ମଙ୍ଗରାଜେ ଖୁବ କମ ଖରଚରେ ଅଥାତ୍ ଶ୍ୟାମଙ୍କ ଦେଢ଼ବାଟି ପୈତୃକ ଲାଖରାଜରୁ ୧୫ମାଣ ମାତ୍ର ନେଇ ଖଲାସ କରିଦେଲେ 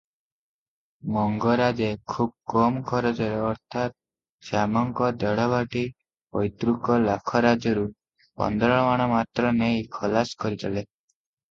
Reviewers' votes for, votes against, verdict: 0, 2, rejected